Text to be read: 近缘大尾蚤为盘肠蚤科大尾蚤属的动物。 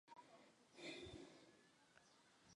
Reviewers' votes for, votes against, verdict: 0, 2, rejected